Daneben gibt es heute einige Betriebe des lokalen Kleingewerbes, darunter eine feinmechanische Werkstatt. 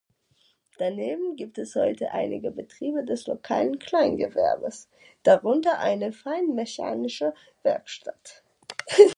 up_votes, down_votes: 0, 2